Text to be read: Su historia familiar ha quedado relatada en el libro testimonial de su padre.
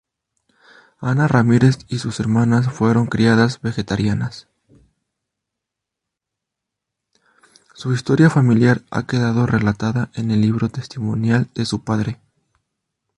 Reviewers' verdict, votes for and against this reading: rejected, 0, 2